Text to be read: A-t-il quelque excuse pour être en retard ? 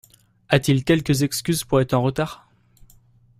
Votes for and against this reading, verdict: 0, 2, rejected